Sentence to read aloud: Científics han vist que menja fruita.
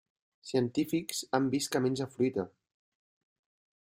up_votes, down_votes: 2, 0